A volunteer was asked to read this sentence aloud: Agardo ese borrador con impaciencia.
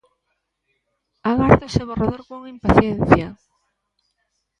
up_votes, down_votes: 2, 0